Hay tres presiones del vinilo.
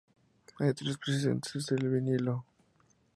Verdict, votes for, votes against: rejected, 0, 2